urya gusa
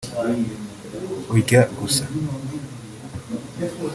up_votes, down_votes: 2, 1